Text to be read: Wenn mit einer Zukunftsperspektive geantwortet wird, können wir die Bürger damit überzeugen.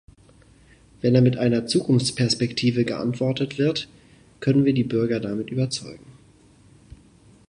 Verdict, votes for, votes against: rejected, 0, 2